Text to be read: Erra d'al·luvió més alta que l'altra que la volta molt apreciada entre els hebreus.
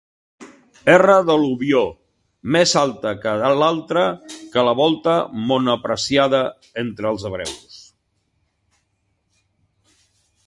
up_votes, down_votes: 3, 4